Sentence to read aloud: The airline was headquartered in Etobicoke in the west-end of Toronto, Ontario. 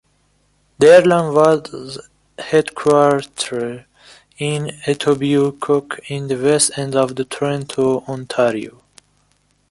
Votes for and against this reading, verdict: 1, 2, rejected